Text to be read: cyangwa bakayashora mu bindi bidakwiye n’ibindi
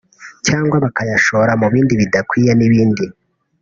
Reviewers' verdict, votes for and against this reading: rejected, 1, 2